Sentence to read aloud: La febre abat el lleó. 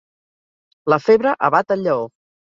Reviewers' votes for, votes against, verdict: 4, 0, accepted